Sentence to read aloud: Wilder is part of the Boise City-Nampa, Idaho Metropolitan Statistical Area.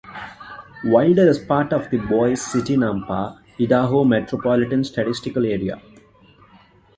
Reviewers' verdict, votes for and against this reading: rejected, 0, 2